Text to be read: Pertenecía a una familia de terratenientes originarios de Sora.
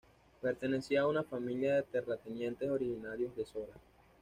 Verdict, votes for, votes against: accepted, 2, 0